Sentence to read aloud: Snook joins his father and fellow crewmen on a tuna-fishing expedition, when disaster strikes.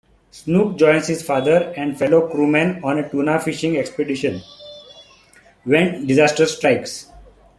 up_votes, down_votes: 0, 2